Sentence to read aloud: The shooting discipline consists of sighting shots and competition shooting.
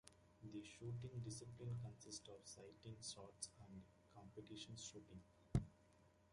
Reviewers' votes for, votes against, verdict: 1, 2, rejected